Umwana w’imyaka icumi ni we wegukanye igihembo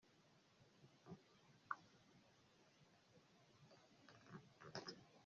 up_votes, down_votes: 0, 2